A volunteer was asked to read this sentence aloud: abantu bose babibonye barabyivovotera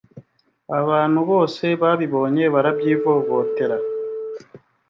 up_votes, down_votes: 2, 0